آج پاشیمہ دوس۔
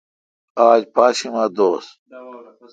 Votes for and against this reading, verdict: 2, 0, accepted